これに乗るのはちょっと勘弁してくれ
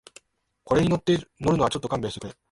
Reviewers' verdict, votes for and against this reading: rejected, 1, 2